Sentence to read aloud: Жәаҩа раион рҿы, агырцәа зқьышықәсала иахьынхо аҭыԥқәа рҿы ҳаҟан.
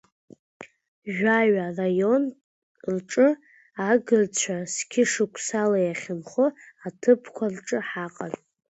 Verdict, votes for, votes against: accepted, 2, 1